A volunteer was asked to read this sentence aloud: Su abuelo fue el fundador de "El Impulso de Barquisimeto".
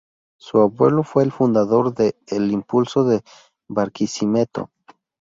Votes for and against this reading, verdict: 2, 0, accepted